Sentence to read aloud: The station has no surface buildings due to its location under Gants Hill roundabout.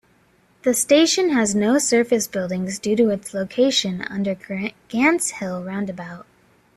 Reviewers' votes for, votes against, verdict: 1, 2, rejected